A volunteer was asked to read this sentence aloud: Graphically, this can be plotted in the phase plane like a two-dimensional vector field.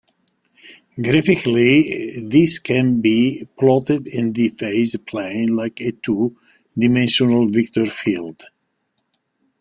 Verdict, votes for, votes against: rejected, 0, 2